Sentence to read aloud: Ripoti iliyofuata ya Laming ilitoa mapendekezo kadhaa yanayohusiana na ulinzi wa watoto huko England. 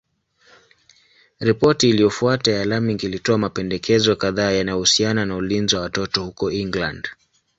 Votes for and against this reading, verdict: 2, 0, accepted